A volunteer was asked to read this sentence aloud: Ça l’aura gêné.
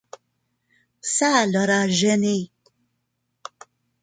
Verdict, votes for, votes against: accepted, 2, 0